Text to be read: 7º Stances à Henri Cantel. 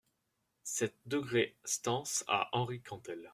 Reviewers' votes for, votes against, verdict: 0, 2, rejected